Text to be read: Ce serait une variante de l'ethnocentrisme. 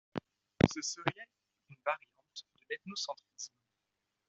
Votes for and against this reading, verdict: 1, 2, rejected